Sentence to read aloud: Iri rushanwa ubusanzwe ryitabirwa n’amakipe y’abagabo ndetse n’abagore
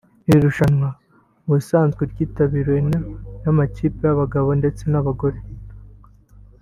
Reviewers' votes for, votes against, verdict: 1, 2, rejected